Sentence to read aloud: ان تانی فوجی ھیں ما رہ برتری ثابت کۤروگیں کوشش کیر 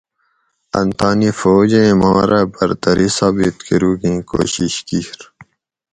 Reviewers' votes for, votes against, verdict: 2, 2, rejected